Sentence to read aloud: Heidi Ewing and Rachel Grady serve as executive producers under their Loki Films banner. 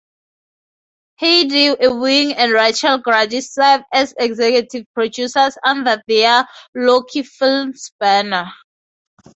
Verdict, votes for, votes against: accepted, 2, 0